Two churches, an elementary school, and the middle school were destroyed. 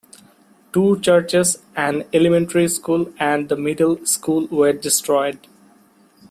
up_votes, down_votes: 2, 0